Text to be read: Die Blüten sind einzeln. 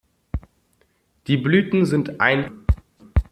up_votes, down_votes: 0, 2